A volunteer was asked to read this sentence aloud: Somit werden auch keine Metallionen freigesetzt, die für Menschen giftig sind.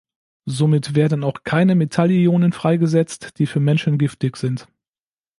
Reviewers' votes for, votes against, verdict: 2, 0, accepted